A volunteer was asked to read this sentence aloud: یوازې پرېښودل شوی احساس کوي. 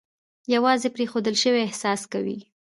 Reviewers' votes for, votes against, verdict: 1, 2, rejected